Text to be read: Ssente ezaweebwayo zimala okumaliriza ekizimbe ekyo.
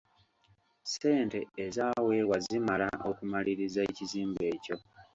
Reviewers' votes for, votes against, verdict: 2, 0, accepted